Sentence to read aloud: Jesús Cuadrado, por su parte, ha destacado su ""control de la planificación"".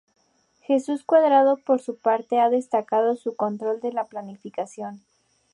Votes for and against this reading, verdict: 6, 0, accepted